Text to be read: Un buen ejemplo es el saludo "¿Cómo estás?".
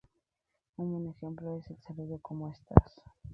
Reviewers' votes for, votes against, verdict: 0, 2, rejected